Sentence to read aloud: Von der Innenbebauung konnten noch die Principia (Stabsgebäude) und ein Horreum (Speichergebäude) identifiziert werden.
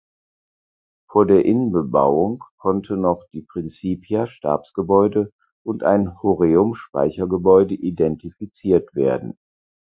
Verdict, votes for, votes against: rejected, 0, 4